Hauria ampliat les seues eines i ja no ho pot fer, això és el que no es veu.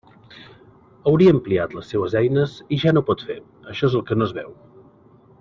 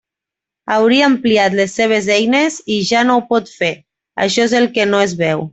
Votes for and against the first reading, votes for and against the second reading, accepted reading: 2, 0, 0, 2, first